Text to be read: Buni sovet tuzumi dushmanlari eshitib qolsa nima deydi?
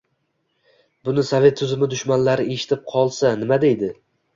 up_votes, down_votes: 2, 0